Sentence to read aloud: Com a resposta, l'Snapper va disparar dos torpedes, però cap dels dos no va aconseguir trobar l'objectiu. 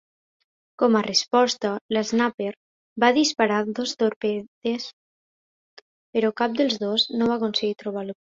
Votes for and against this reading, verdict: 0, 2, rejected